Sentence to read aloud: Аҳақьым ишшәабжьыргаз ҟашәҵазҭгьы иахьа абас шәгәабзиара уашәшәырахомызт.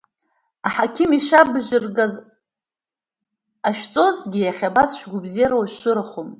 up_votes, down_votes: 2, 0